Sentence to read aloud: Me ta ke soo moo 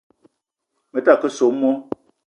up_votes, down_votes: 2, 0